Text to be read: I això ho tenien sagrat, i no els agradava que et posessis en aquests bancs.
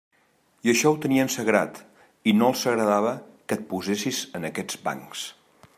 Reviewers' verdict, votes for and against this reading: accepted, 3, 0